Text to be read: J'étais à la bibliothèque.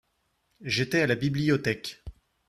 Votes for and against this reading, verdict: 2, 1, accepted